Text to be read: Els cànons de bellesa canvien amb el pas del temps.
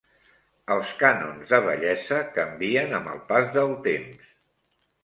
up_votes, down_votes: 1, 2